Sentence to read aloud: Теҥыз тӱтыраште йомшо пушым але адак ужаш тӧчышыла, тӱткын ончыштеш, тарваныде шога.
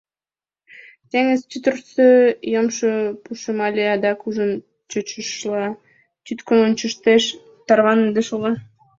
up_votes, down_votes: 0, 2